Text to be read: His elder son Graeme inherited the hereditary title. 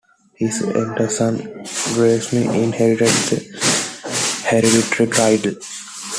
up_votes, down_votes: 3, 2